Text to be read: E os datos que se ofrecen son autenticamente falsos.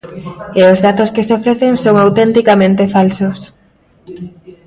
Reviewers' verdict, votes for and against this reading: rejected, 1, 2